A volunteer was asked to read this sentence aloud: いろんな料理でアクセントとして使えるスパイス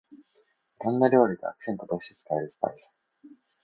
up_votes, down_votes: 1, 2